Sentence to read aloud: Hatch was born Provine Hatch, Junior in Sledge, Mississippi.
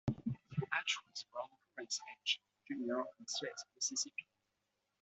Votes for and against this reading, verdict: 0, 2, rejected